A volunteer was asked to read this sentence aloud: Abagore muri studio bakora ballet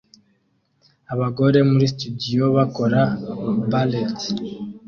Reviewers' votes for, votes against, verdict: 2, 0, accepted